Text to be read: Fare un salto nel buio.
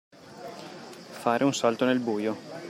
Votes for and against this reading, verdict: 2, 0, accepted